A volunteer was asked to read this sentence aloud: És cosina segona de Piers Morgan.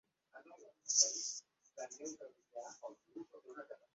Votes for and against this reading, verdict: 0, 2, rejected